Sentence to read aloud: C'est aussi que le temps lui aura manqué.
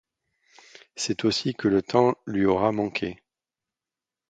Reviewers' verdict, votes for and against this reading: accepted, 2, 0